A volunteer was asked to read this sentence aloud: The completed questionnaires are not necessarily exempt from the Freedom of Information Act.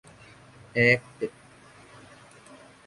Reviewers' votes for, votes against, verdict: 0, 2, rejected